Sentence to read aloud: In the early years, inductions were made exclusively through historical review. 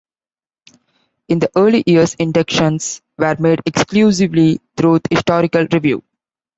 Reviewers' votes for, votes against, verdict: 2, 0, accepted